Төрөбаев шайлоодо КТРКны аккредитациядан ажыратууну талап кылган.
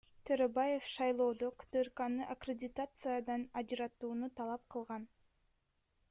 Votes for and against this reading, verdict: 2, 1, accepted